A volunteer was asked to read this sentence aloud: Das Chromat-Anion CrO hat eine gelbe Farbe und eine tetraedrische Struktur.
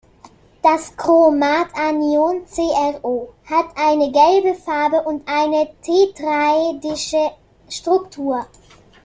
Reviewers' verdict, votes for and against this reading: rejected, 0, 2